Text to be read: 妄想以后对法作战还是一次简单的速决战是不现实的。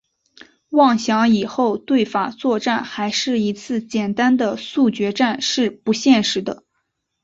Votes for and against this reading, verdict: 4, 0, accepted